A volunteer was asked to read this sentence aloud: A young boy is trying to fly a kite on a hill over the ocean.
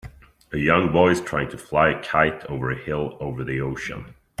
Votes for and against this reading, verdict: 1, 2, rejected